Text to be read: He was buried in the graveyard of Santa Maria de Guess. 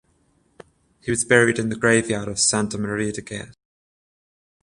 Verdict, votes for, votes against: accepted, 14, 0